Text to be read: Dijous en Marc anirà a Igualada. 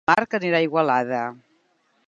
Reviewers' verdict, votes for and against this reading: rejected, 0, 4